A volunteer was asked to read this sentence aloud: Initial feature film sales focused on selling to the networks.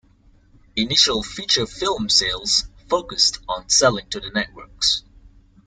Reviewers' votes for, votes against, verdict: 2, 0, accepted